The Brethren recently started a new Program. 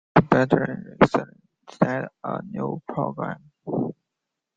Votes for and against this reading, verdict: 0, 2, rejected